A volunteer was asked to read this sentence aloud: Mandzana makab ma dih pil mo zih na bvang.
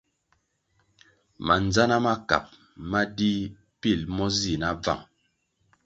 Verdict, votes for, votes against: accepted, 2, 0